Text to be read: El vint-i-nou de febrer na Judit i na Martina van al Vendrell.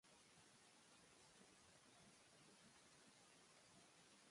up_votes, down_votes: 0, 2